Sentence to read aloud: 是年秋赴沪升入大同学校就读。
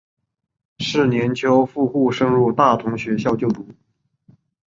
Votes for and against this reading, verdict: 9, 0, accepted